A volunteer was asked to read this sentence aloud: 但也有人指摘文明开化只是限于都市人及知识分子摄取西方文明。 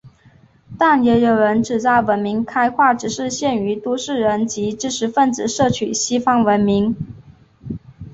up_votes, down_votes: 2, 0